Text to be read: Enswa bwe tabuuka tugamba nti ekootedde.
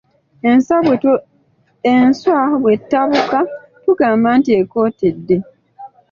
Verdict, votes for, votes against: accepted, 2, 0